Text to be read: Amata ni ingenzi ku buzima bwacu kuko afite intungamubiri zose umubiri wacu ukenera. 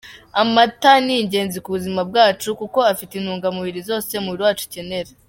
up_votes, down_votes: 2, 0